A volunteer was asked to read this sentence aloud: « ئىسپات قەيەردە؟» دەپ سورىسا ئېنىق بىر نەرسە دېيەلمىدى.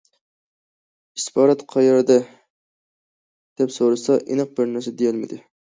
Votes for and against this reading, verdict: 0, 2, rejected